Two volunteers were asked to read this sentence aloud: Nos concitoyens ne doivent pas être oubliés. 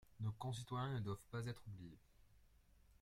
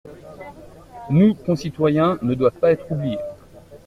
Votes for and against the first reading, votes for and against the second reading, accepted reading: 2, 1, 1, 2, first